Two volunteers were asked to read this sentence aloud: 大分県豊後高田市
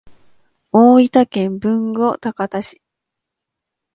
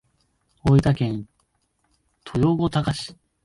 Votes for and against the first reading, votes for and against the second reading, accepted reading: 2, 0, 0, 2, first